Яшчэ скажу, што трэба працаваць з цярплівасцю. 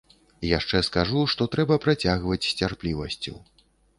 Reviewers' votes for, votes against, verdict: 0, 2, rejected